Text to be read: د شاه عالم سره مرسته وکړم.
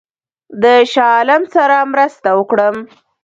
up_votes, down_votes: 0, 2